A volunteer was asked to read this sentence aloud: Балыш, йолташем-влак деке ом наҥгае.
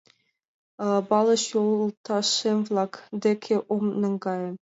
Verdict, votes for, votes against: accepted, 2, 0